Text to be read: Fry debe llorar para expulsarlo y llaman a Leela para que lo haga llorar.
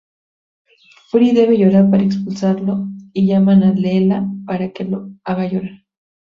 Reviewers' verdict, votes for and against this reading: rejected, 0, 6